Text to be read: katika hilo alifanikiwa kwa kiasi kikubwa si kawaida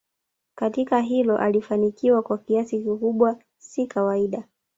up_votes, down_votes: 2, 0